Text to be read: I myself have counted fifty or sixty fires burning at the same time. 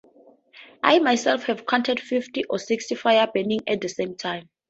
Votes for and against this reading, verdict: 0, 2, rejected